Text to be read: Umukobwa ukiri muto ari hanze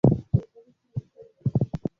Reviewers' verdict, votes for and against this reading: rejected, 0, 2